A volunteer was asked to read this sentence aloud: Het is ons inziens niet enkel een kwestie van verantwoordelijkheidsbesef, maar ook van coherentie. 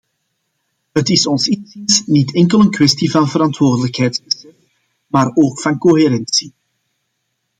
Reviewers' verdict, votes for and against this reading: rejected, 0, 2